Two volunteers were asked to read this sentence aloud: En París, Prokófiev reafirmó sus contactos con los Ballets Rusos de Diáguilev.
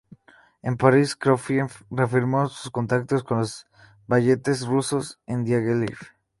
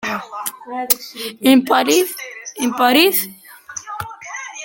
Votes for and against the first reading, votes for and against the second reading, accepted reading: 2, 0, 0, 2, first